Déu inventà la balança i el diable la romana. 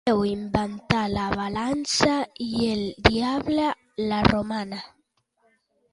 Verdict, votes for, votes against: accepted, 2, 1